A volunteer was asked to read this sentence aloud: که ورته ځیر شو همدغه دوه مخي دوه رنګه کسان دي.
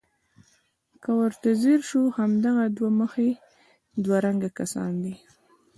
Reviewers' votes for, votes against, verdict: 0, 2, rejected